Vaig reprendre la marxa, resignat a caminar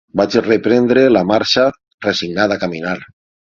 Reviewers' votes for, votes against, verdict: 6, 0, accepted